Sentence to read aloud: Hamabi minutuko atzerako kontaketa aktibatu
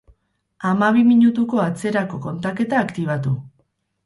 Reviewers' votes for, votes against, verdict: 4, 0, accepted